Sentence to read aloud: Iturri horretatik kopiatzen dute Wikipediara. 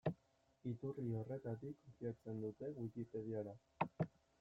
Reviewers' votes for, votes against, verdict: 1, 2, rejected